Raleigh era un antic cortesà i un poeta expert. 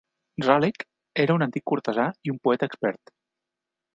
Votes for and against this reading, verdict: 4, 0, accepted